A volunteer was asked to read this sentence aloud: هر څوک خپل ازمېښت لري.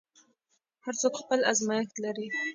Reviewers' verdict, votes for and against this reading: accepted, 2, 0